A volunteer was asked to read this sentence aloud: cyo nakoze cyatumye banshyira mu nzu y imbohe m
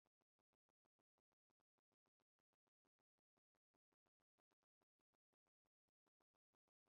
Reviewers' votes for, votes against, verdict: 1, 2, rejected